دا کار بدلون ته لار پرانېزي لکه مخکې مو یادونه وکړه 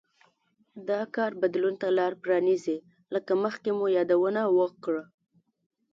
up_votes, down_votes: 2, 0